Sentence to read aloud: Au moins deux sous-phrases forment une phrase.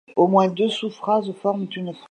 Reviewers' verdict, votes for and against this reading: accepted, 2, 1